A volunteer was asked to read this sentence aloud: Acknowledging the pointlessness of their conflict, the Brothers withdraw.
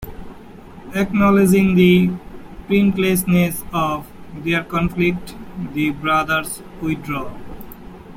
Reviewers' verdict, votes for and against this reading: rejected, 0, 2